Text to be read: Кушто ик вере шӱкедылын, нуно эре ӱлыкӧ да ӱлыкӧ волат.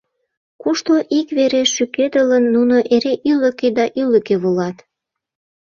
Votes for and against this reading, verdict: 2, 0, accepted